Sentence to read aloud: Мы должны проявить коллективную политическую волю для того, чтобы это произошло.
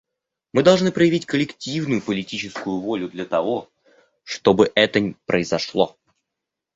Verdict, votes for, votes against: rejected, 1, 2